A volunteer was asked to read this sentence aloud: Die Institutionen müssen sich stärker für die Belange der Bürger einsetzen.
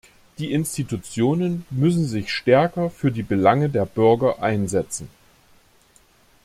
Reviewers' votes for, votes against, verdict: 2, 0, accepted